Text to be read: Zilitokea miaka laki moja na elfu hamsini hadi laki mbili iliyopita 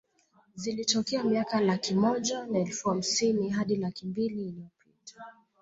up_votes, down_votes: 2, 1